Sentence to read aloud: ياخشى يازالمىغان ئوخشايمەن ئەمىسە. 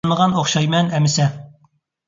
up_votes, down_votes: 1, 2